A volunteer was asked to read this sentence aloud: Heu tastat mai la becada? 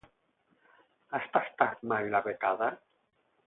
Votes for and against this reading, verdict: 4, 4, rejected